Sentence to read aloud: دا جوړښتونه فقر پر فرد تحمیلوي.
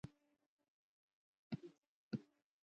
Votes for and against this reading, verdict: 0, 2, rejected